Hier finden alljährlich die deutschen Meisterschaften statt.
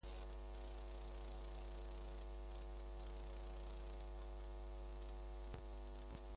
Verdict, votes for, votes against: rejected, 0, 2